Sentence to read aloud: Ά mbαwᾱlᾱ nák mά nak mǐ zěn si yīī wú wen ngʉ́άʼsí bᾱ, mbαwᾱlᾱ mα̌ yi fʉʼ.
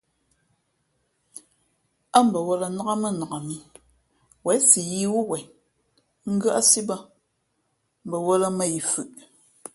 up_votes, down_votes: 2, 1